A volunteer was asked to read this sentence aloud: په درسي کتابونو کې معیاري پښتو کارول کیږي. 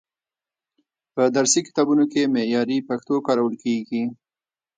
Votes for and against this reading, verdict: 1, 2, rejected